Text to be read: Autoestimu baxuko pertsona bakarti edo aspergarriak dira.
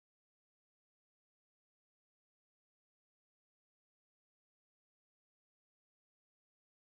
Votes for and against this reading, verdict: 1, 2, rejected